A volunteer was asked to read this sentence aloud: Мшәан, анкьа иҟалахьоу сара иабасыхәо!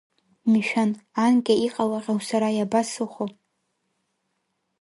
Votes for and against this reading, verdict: 2, 0, accepted